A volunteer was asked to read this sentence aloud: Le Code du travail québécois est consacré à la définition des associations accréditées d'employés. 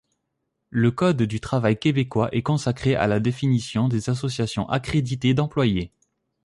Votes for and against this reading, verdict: 3, 0, accepted